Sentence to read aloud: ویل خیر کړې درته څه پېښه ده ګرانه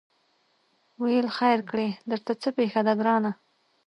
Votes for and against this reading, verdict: 2, 0, accepted